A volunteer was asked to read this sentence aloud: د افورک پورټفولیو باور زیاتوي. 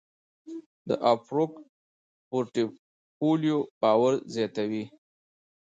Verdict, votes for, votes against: rejected, 0, 2